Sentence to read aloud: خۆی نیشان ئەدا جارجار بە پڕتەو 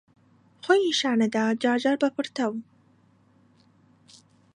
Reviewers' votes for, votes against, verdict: 2, 0, accepted